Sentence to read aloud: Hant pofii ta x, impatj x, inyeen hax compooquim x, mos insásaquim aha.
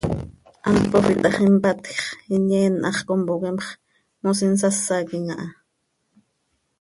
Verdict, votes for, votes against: rejected, 1, 2